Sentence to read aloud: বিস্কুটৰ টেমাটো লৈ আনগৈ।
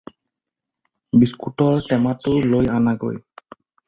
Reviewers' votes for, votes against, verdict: 2, 4, rejected